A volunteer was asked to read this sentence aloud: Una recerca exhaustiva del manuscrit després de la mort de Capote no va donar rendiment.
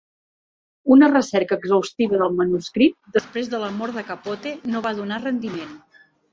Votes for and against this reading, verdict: 2, 1, accepted